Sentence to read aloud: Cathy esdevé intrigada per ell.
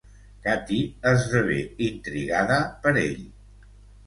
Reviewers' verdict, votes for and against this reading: accepted, 2, 0